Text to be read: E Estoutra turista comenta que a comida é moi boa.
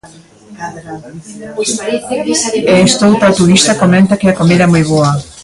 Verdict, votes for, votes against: rejected, 0, 2